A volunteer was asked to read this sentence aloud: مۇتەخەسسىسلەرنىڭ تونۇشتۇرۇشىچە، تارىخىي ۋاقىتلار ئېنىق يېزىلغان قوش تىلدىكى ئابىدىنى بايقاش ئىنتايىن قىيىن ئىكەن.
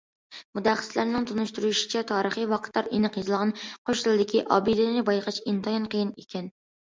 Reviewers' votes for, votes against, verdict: 2, 0, accepted